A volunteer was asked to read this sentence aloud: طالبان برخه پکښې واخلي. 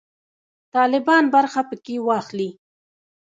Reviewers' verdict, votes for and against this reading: rejected, 1, 2